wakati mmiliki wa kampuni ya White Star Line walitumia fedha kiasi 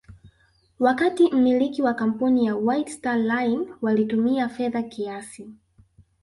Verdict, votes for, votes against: rejected, 1, 2